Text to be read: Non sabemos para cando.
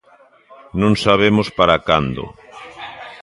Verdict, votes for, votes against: accepted, 2, 1